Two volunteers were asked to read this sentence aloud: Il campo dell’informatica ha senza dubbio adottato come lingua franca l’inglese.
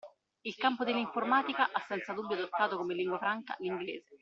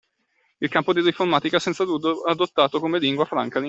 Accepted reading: first